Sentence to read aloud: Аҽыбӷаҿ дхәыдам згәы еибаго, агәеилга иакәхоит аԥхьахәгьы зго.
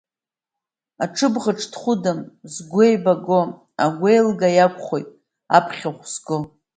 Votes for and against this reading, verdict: 1, 2, rejected